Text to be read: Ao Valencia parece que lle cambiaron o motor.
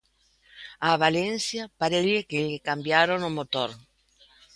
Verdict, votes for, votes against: rejected, 0, 2